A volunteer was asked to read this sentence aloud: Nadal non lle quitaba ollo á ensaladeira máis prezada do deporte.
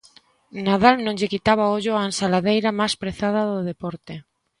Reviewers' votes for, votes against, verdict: 2, 1, accepted